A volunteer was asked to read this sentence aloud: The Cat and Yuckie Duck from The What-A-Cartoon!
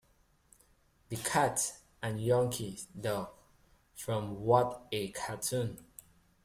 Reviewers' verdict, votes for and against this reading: rejected, 0, 2